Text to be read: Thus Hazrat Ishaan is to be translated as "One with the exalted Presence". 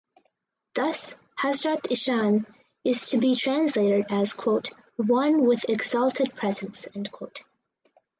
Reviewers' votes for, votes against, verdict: 2, 2, rejected